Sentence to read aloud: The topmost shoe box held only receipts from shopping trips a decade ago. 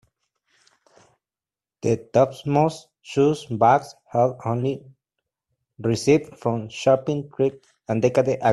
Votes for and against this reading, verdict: 0, 2, rejected